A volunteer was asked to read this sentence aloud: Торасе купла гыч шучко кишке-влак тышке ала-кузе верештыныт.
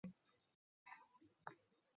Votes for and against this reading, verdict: 0, 2, rejected